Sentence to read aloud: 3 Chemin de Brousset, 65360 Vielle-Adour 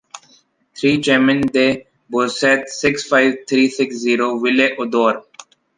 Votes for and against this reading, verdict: 0, 2, rejected